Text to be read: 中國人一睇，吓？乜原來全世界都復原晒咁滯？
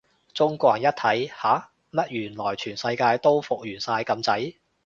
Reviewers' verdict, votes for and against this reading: accepted, 2, 0